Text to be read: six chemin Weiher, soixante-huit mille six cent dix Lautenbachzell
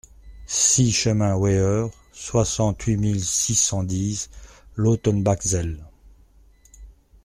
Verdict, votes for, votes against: accepted, 2, 0